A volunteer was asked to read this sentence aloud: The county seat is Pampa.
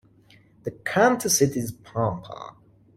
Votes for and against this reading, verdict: 1, 2, rejected